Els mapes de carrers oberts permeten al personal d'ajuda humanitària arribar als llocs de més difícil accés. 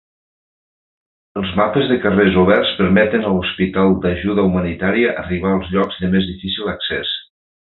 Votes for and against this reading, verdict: 0, 2, rejected